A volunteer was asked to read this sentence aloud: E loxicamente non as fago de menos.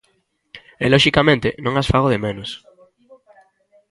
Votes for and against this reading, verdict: 2, 0, accepted